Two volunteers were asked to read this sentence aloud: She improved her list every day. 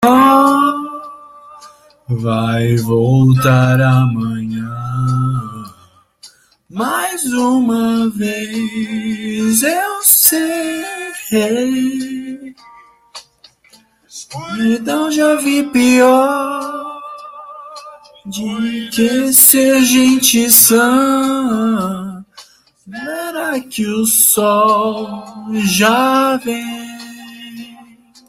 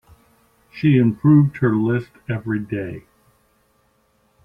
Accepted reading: second